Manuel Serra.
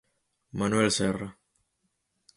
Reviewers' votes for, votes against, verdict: 4, 0, accepted